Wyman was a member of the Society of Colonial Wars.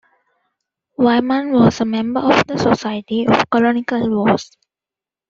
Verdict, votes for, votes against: rejected, 0, 2